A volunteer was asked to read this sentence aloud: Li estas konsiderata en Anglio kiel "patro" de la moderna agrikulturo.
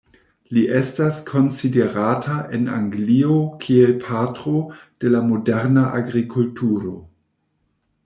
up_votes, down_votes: 1, 2